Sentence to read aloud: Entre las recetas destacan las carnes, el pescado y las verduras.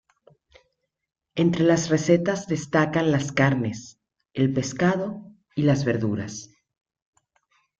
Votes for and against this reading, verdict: 2, 0, accepted